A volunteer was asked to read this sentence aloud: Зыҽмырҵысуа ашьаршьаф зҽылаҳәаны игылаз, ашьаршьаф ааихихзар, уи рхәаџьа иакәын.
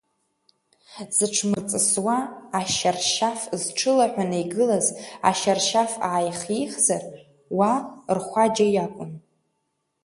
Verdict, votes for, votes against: rejected, 1, 2